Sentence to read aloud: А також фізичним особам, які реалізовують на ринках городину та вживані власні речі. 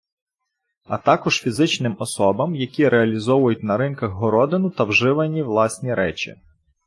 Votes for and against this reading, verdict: 2, 0, accepted